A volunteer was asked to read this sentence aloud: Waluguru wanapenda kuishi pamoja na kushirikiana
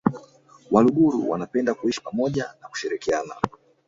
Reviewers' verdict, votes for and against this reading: rejected, 1, 2